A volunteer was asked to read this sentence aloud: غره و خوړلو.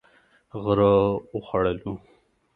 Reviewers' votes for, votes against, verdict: 2, 0, accepted